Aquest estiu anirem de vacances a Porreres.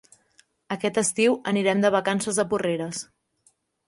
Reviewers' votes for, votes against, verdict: 3, 0, accepted